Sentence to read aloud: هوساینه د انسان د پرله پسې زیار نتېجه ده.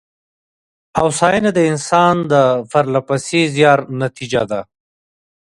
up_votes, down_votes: 3, 0